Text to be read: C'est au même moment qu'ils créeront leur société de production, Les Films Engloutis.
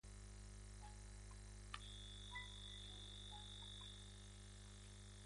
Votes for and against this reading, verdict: 1, 2, rejected